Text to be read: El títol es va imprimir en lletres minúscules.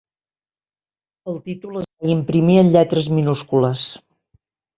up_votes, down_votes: 1, 4